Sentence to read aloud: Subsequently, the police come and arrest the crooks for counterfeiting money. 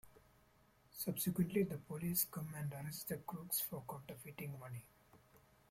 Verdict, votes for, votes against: rejected, 0, 2